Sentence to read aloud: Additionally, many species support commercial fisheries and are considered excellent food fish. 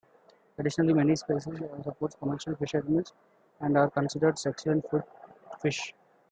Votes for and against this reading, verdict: 0, 2, rejected